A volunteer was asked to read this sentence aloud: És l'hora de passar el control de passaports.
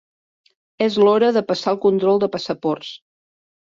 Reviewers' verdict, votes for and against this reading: accepted, 3, 0